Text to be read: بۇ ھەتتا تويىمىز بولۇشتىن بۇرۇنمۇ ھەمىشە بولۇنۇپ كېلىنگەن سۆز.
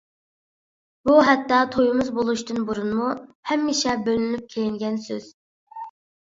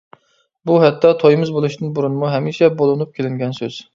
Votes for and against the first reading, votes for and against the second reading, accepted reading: 0, 2, 2, 0, second